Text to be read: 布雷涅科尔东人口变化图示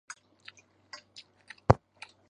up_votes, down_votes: 0, 3